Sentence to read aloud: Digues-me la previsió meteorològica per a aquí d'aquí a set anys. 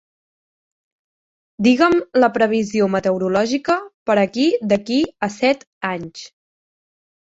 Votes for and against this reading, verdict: 1, 2, rejected